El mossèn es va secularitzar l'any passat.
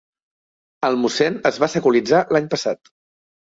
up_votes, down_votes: 3, 1